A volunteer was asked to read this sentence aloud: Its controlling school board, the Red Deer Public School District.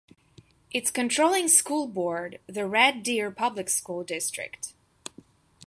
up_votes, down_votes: 2, 0